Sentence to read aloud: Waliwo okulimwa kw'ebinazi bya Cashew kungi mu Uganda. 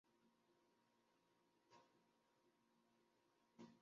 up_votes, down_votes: 0, 2